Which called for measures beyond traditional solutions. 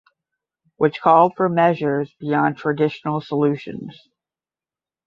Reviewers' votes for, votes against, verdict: 5, 5, rejected